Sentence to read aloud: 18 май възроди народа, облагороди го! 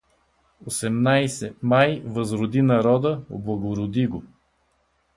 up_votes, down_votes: 0, 2